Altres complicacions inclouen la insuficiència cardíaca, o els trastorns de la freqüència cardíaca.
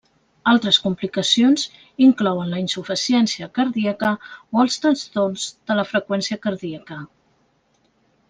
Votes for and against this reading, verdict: 1, 2, rejected